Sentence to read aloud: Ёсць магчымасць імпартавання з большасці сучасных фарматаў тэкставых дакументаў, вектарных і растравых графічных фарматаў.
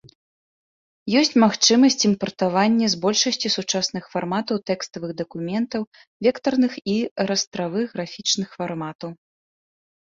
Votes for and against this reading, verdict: 1, 2, rejected